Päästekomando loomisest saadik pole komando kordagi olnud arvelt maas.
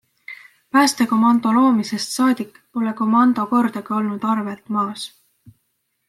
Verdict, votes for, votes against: accepted, 2, 0